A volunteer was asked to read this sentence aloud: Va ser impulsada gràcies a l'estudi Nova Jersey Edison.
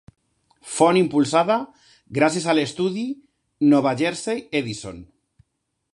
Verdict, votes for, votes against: rejected, 1, 2